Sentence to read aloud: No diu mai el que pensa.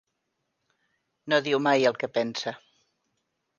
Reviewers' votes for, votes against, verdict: 3, 0, accepted